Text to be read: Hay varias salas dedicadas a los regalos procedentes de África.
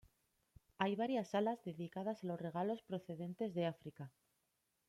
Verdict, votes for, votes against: accepted, 2, 1